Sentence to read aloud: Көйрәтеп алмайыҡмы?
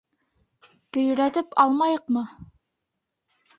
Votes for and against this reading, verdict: 3, 0, accepted